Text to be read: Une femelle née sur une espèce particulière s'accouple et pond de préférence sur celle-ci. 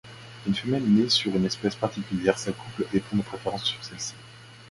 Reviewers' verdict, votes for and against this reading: accepted, 3, 1